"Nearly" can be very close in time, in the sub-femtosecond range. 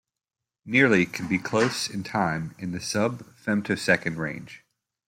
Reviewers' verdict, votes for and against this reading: rejected, 1, 2